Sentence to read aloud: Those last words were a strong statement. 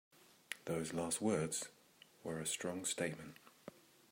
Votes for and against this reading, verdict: 2, 0, accepted